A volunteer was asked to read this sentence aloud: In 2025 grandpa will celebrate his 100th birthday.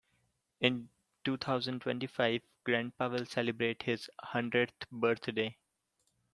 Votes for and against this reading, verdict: 0, 2, rejected